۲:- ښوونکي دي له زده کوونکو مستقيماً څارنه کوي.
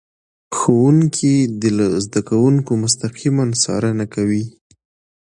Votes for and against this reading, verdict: 0, 2, rejected